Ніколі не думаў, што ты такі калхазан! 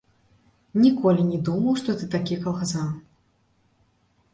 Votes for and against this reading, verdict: 2, 3, rejected